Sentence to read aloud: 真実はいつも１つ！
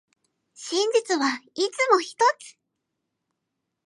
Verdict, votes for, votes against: rejected, 0, 2